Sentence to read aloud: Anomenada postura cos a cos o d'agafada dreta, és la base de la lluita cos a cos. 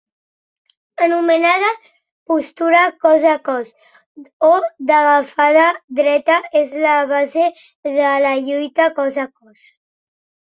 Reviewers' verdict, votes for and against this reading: accepted, 3, 0